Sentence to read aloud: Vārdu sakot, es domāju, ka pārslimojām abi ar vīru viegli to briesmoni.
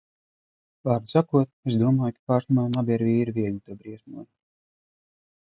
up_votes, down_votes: 1, 2